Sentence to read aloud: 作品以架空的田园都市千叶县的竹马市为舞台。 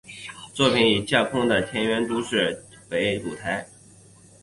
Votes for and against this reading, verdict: 4, 1, accepted